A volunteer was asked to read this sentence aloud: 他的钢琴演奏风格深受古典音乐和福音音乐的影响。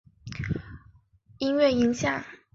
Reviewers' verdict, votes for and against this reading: rejected, 0, 2